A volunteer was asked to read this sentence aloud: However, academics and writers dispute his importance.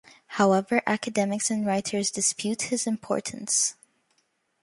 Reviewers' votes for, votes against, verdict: 2, 0, accepted